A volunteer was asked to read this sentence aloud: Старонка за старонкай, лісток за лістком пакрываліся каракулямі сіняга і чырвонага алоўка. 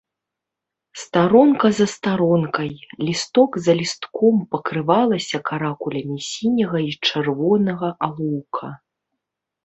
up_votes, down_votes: 1, 2